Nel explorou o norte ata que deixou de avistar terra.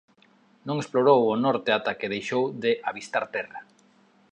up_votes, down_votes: 1, 2